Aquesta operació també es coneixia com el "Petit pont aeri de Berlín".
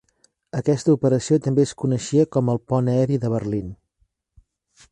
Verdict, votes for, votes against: rejected, 0, 2